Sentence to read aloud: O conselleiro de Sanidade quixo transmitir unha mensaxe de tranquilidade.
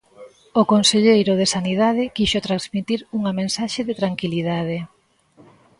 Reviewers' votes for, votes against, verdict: 2, 0, accepted